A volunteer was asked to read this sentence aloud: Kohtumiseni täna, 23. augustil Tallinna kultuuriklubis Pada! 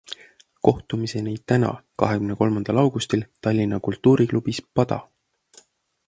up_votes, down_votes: 0, 2